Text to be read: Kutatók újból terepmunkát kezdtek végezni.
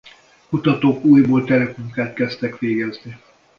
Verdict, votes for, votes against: rejected, 0, 2